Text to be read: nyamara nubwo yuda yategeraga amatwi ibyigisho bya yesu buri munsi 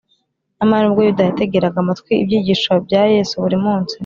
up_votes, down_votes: 3, 0